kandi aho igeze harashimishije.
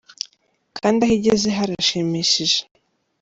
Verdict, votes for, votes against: accepted, 2, 0